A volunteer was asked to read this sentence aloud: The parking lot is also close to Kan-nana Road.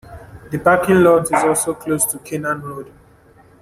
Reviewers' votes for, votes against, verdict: 1, 2, rejected